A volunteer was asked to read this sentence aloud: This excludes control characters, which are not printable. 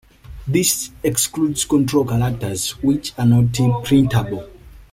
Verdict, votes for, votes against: rejected, 0, 2